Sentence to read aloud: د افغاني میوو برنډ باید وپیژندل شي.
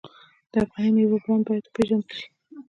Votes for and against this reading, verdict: 0, 2, rejected